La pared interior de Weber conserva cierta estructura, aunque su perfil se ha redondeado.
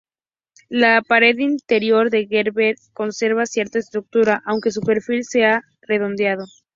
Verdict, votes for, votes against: rejected, 0, 2